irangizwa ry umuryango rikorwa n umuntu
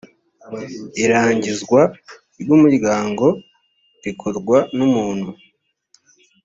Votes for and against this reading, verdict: 2, 0, accepted